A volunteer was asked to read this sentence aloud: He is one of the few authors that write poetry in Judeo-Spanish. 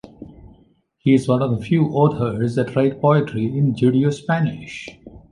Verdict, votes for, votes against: accepted, 2, 0